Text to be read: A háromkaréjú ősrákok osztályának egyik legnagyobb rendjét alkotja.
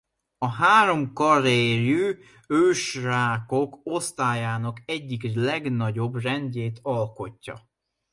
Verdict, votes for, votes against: rejected, 0, 2